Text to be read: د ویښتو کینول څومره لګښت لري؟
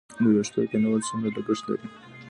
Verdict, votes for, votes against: rejected, 0, 2